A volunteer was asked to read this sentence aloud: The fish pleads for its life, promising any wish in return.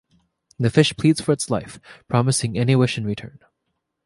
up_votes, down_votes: 2, 0